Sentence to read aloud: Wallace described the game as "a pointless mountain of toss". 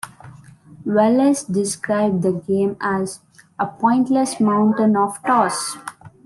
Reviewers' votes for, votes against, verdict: 2, 1, accepted